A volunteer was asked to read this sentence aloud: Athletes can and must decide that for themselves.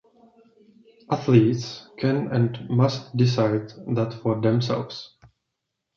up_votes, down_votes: 1, 2